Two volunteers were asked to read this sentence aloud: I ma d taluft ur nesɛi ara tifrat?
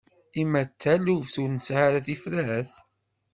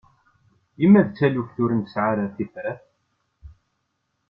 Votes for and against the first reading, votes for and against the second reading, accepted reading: 1, 2, 2, 0, second